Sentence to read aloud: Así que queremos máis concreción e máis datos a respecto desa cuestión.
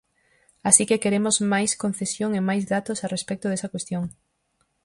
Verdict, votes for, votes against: rejected, 0, 4